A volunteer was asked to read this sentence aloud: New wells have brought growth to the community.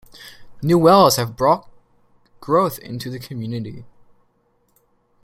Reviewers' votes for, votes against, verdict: 0, 2, rejected